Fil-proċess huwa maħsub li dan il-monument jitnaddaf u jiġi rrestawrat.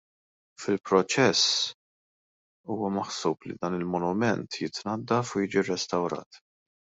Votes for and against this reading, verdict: 1, 3, rejected